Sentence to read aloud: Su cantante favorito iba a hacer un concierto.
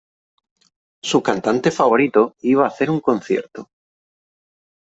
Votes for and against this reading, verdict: 3, 0, accepted